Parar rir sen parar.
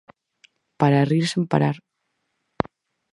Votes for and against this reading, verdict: 0, 4, rejected